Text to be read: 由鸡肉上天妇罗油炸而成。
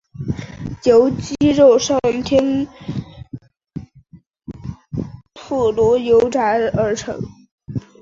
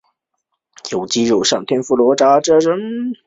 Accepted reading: second